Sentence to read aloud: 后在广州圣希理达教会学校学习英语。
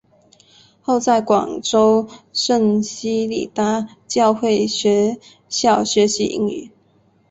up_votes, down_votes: 2, 2